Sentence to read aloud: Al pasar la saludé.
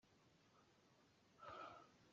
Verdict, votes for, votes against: rejected, 0, 2